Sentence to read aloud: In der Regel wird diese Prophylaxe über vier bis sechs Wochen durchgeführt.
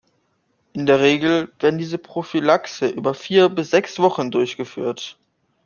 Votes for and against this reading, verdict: 1, 2, rejected